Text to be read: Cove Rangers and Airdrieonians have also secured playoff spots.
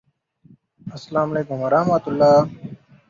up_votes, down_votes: 1, 2